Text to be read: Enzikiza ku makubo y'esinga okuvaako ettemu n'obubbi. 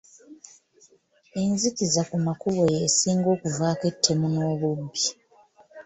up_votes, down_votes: 2, 0